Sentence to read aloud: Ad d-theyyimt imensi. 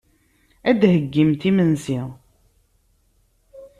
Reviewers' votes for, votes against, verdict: 1, 2, rejected